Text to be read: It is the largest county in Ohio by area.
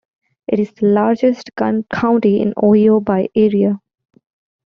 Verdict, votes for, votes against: accepted, 2, 1